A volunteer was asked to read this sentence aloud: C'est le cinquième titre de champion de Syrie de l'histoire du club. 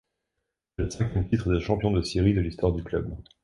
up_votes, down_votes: 1, 2